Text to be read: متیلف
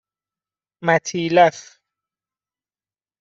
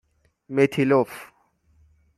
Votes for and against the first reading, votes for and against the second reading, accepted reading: 2, 0, 3, 6, first